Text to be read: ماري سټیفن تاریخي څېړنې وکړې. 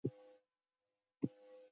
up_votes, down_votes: 1, 2